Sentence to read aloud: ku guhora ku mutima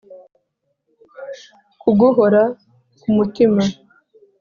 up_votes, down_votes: 2, 0